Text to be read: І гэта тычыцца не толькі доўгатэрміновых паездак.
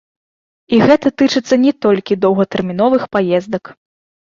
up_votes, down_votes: 2, 0